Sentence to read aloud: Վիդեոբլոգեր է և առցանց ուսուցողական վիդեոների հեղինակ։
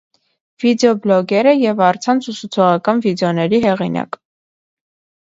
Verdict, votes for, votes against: accepted, 3, 0